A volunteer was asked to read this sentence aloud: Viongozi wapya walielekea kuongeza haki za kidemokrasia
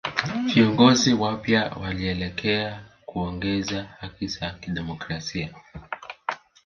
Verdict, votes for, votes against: accepted, 2, 1